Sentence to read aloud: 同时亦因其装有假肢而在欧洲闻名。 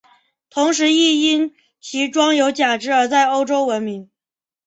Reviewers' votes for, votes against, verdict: 3, 0, accepted